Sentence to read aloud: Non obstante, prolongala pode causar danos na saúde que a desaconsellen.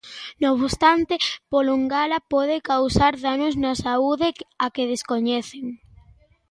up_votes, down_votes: 0, 2